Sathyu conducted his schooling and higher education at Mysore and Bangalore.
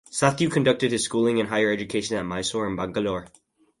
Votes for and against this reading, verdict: 0, 2, rejected